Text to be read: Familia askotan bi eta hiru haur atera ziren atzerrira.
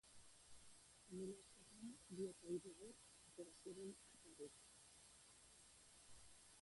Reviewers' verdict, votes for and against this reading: rejected, 0, 2